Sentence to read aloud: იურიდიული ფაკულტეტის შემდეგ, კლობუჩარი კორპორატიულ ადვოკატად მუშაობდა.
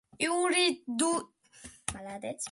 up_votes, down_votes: 0, 2